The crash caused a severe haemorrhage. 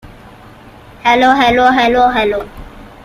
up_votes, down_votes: 0, 2